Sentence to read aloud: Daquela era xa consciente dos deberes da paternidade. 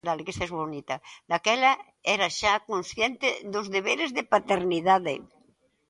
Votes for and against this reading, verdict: 0, 2, rejected